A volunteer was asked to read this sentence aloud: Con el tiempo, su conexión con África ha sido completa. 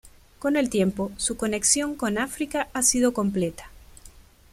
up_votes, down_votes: 1, 2